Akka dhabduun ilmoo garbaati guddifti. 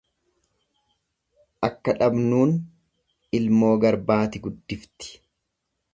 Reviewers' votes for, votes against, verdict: 1, 2, rejected